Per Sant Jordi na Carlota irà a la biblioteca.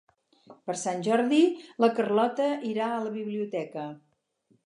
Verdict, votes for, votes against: rejected, 0, 4